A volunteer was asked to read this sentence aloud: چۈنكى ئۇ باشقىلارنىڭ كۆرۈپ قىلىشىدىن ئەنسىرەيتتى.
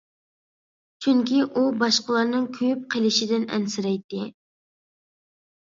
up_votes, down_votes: 0, 2